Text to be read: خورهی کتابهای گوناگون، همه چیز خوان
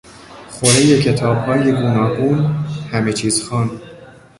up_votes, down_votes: 0, 2